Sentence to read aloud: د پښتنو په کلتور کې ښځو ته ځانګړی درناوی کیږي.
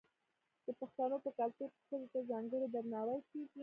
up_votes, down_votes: 2, 1